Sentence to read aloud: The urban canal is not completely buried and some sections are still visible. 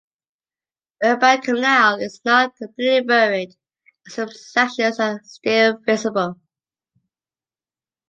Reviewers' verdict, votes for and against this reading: rejected, 2, 3